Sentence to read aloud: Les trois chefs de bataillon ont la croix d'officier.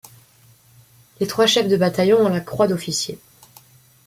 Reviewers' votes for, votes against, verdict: 2, 0, accepted